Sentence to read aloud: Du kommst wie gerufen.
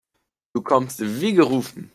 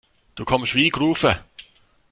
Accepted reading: first